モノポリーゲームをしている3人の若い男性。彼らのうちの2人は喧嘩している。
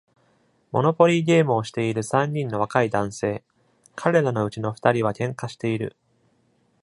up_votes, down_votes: 0, 2